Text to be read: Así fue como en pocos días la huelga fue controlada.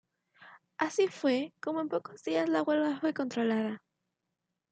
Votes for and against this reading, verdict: 2, 0, accepted